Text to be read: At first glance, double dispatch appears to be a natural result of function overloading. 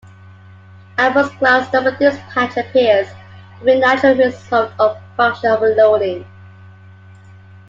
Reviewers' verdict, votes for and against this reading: accepted, 2, 1